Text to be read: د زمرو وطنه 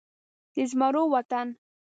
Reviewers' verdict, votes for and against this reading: rejected, 1, 2